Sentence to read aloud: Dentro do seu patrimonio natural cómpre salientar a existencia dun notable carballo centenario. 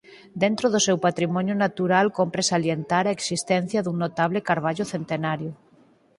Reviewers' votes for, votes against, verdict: 4, 0, accepted